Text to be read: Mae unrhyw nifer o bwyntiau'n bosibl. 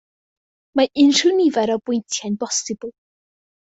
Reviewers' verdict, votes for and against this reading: accepted, 2, 0